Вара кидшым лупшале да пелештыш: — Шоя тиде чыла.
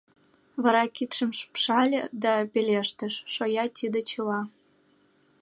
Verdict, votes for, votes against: accepted, 2, 0